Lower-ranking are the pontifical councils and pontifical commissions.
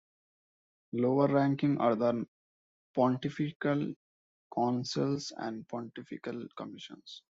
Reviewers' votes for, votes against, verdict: 2, 0, accepted